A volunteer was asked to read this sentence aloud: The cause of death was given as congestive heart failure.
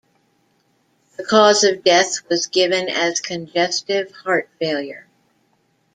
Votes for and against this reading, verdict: 2, 0, accepted